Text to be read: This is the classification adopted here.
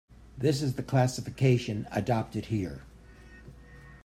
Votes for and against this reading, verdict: 2, 0, accepted